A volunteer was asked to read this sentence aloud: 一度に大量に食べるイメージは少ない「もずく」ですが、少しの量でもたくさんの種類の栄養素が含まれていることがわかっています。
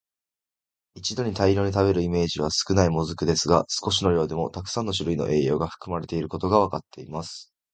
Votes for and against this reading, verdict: 1, 2, rejected